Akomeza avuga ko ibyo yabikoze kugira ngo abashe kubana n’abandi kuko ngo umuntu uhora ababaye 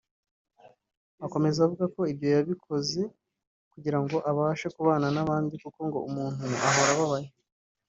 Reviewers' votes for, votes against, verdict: 1, 2, rejected